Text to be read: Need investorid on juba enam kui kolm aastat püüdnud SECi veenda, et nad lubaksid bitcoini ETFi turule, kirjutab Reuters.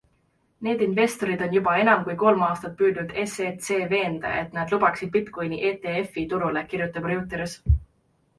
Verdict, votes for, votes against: rejected, 0, 2